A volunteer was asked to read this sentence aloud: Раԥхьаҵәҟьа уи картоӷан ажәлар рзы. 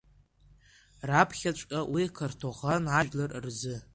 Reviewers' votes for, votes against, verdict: 2, 0, accepted